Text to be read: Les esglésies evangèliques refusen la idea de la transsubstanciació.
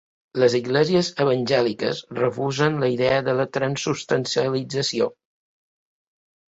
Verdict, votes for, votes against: rejected, 0, 2